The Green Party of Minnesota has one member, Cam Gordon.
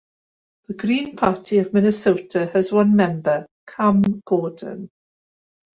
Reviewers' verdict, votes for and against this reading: accepted, 2, 0